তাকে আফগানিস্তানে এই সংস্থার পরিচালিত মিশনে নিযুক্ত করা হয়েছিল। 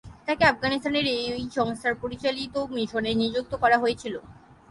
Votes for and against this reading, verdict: 0, 3, rejected